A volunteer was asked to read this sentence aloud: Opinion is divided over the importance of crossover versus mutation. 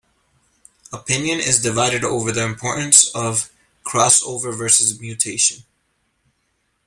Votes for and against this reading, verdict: 2, 0, accepted